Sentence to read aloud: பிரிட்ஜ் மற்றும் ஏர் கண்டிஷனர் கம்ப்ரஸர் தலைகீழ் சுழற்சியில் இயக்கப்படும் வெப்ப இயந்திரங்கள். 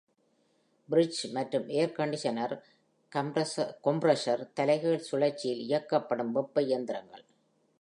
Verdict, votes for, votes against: rejected, 0, 2